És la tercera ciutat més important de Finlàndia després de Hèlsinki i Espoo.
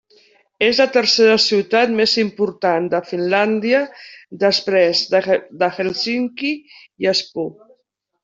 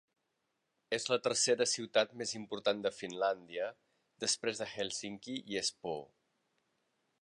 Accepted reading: second